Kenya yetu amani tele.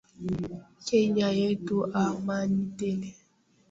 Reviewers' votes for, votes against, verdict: 0, 2, rejected